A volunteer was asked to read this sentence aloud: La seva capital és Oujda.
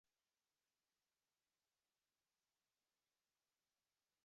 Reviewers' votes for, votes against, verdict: 1, 3, rejected